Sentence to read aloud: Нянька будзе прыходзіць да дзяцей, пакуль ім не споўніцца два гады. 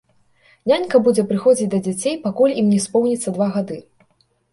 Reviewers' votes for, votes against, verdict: 2, 0, accepted